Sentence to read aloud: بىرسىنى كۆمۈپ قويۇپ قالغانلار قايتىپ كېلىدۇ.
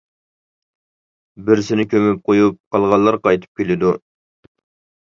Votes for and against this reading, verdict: 3, 0, accepted